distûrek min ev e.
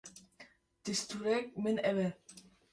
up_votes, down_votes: 2, 0